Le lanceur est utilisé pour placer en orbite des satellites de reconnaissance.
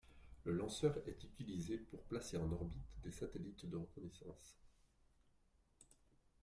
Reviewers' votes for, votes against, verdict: 2, 0, accepted